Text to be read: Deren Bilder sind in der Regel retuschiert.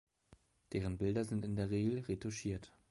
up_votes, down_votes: 2, 0